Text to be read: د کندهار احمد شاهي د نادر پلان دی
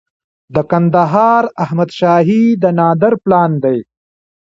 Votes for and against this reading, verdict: 1, 2, rejected